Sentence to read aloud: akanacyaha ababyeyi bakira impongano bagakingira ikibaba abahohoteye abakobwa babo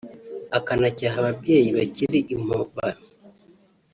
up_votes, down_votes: 0, 3